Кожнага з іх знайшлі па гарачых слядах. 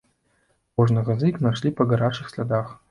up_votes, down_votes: 1, 2